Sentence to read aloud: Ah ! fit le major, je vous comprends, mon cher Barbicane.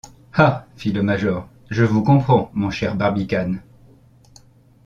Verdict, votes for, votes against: accepted, 2, 0